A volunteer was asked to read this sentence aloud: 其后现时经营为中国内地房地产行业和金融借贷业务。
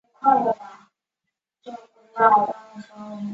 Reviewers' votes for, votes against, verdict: 0, 3, rejected